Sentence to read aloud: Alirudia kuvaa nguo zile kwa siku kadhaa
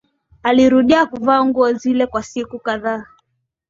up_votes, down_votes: 2, 0